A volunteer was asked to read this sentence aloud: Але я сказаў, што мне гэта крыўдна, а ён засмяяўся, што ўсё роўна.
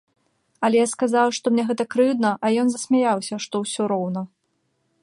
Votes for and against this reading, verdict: 2, 0, accepted